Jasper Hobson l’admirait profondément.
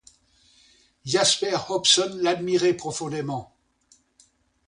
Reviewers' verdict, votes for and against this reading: accepted, 2, 0